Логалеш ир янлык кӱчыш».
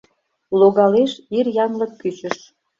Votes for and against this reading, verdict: 2, 0, accepted